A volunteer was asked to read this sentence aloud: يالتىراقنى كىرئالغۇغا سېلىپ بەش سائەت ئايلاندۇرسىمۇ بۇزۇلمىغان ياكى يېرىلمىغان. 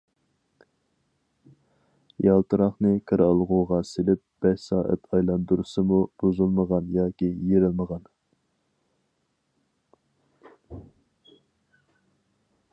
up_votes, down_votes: 4, 0